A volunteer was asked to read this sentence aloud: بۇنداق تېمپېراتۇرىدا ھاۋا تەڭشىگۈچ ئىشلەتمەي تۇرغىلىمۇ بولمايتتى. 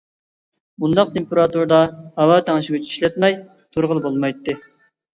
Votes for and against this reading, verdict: 0, 2, rejected